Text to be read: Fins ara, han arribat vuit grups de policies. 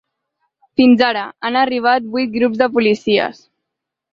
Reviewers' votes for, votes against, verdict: 3, 0, accepted